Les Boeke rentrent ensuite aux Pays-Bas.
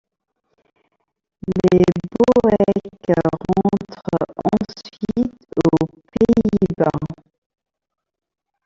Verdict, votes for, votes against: rejected, 0, 2